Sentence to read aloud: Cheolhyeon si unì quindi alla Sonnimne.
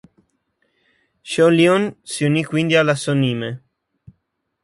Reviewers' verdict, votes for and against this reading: rejected, 2, 3